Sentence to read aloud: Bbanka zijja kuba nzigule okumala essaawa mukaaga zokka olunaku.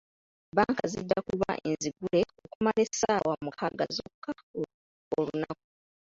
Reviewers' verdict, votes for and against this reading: rejected, 0, 2